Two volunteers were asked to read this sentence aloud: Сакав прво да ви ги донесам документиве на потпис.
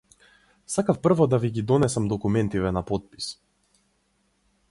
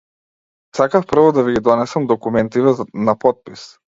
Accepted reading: first